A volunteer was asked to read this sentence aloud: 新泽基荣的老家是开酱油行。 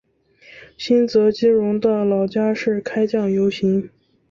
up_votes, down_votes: 4, 0